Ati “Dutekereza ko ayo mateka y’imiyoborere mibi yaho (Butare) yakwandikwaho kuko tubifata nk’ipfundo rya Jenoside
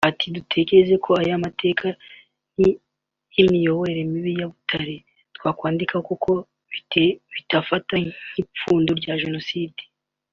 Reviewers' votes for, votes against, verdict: 0, 2, rejected